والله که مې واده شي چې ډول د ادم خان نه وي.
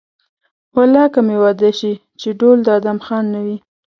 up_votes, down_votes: 2, 0